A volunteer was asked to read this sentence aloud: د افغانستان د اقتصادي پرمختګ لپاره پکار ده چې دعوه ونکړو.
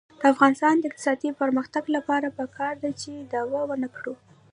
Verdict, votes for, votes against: rejected, 0, 2